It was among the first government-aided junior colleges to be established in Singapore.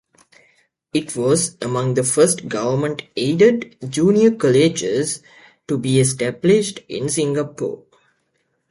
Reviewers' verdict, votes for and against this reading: accepted, 2, 0